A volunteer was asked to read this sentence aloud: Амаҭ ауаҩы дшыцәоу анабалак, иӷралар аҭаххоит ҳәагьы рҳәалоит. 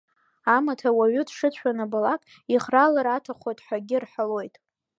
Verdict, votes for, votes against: accepted, 2, 0